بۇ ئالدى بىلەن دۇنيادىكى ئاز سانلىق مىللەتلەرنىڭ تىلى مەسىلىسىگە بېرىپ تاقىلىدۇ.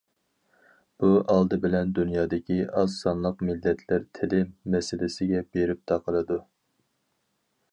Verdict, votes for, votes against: rejected, 2, 4